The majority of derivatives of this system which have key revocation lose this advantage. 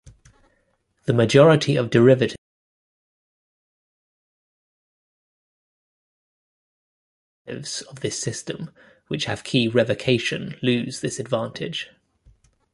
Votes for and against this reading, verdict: 0, 2, rejected